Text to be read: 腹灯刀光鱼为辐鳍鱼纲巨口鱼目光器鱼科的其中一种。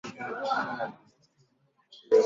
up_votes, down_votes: 2, 4